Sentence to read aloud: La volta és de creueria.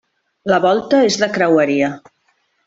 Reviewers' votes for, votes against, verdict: 3, 0, accepted